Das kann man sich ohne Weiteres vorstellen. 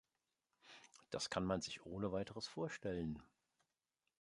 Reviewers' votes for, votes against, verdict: 2, 0, accepted